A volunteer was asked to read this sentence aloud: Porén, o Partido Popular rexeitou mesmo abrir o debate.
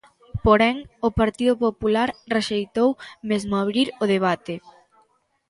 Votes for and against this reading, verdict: 2, 0, accepted